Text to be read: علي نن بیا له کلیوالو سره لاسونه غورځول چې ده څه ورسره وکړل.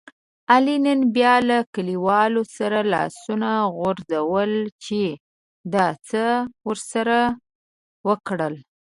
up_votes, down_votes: 2, 0